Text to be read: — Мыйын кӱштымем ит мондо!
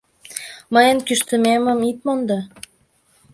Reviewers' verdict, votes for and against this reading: rejected, 2, 3